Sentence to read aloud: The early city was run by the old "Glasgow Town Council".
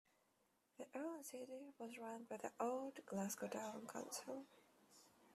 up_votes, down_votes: 1, 2